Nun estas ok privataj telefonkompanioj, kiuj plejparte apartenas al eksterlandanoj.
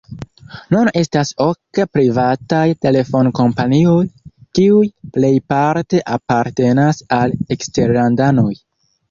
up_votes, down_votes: 1, 2